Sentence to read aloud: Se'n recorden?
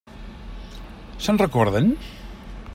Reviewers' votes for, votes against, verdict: 3, 0, accepted